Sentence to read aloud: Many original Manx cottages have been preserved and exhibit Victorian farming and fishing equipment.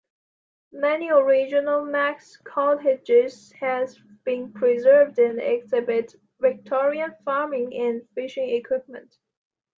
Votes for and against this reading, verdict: 1, 2, rejected